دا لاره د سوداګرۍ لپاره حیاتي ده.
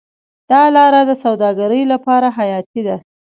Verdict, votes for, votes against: accepted, 2, 0